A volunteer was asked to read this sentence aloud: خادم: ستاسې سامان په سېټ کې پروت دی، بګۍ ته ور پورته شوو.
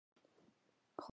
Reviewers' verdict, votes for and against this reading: rejected, 0, 2